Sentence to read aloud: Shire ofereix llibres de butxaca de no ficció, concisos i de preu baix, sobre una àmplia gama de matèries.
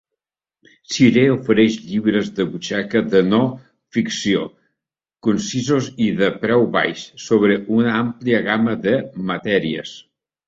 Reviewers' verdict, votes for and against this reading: accepted, 2, 0